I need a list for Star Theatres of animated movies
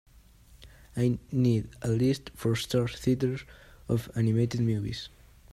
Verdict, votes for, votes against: accepted, 2, 1